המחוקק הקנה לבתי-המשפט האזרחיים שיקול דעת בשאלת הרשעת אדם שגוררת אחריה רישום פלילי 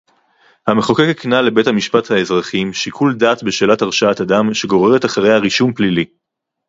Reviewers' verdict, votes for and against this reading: rejected, 2, 2